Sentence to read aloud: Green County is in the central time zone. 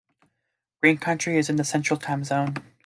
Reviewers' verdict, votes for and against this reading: rejected, 1, 2